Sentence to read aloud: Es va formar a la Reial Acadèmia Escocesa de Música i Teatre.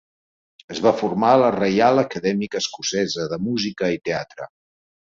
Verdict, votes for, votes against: rejected, 0, 2